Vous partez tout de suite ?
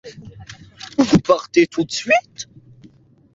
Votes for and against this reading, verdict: 0, 2, rejected